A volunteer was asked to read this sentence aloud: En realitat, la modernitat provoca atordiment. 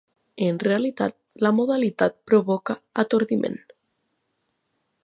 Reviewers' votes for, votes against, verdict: 0, 3, rejected